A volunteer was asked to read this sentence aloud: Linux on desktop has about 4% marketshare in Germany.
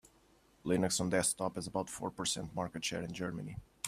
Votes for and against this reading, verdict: 0, 2, rejected